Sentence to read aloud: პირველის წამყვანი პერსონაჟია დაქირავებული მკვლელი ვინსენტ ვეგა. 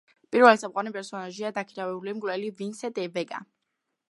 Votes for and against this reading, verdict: 1, 2, rejected